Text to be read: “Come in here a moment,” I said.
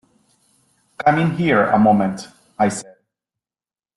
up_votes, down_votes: 0, 2